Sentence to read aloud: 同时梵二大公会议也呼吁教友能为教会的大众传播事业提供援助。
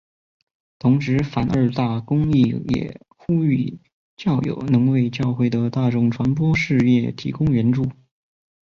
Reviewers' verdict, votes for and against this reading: accepted, 2, 0